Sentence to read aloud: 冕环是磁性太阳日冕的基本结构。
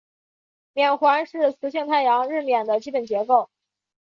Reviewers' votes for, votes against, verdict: 4, 1, accepted